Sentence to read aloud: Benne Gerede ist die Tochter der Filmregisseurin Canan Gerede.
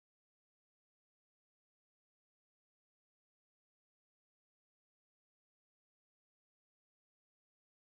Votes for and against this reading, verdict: 0, 2, rejected